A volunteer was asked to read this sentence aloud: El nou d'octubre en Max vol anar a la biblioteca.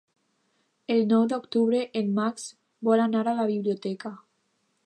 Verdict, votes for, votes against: accepted, 2, 0